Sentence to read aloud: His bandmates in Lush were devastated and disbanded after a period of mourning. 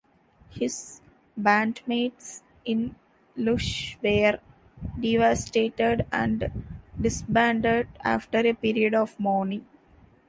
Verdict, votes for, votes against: rejected, 0, 2